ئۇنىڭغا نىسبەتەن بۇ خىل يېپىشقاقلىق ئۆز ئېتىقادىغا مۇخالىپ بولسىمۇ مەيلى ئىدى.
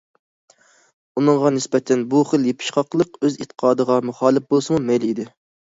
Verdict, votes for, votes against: accepted, 2, 0